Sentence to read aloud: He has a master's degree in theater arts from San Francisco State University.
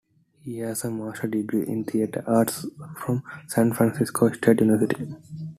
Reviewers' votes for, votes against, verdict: 0, 2, rejected